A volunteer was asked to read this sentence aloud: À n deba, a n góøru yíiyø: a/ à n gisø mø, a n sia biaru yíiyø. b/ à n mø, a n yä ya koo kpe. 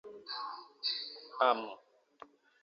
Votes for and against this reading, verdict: 0, 2, rejected